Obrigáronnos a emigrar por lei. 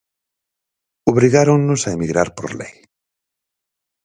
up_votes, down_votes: 4, 0